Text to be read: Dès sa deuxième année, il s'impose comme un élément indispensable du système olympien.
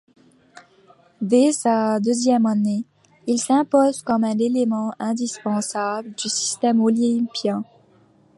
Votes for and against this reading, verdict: 2, 0, accepted